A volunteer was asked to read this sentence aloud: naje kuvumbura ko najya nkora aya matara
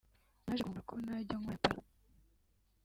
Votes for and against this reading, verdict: 1, 2, rejected